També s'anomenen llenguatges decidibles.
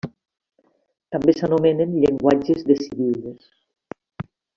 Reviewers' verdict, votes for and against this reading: accepted, 2, 0